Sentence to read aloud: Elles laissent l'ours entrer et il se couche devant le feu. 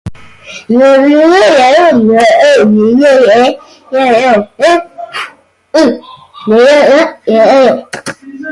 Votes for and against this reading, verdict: 0, 2, rejected